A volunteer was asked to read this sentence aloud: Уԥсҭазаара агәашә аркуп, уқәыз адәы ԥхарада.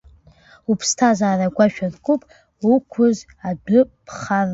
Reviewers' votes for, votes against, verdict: 0, 2, rejected